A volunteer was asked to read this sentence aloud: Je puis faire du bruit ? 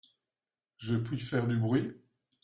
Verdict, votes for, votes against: accepted, 2, 0